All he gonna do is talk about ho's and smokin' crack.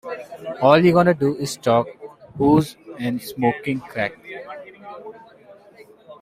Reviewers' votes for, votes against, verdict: 1, 2, rejected